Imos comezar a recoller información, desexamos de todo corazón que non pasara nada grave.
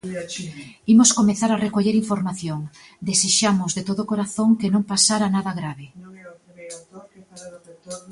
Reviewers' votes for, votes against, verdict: 1, 2, rejected